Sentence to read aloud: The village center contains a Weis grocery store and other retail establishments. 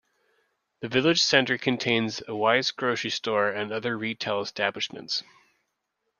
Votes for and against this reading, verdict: 2, 0, accepted